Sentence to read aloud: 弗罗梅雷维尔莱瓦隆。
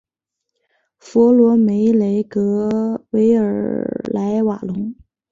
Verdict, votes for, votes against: rejected, 0, 2